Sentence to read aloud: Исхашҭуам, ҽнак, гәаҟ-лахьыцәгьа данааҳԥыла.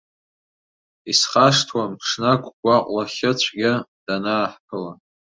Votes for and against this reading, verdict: 2, 0, accepted